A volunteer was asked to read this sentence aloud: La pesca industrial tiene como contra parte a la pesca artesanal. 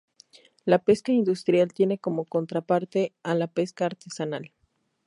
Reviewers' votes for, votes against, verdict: 2, 0, accepted